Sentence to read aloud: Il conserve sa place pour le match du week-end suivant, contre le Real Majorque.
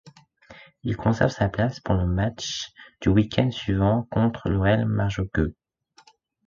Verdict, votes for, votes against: accepted, 2, 0